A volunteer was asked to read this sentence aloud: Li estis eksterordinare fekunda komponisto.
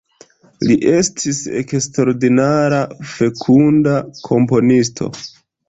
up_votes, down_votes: 2, 0